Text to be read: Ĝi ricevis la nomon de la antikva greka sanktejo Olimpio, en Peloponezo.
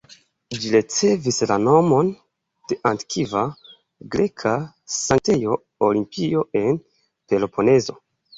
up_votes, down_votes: 1, 2